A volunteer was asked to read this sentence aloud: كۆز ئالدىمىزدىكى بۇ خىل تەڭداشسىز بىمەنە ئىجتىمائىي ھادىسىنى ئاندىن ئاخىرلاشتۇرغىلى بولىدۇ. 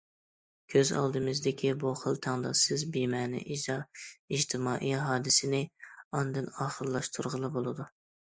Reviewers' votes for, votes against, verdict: 0, 2, rejected